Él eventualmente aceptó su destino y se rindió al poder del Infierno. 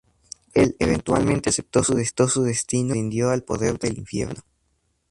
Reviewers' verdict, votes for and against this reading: rejected, 0, 2